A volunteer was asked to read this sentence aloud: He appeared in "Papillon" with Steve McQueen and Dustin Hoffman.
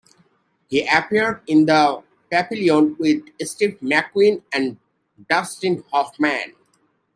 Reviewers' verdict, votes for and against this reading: accepted, 2, 1